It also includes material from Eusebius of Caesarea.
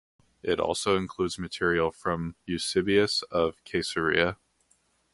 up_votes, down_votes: 2, 0